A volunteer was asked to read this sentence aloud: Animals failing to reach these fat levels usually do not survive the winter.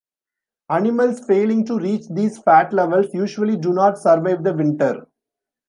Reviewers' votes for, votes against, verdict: 2, 0, accepted